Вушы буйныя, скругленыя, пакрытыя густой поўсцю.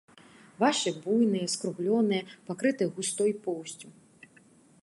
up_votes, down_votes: 1, 2